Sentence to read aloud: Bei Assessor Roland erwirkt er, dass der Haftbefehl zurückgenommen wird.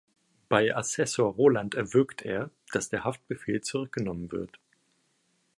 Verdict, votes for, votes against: accepted, 2, 0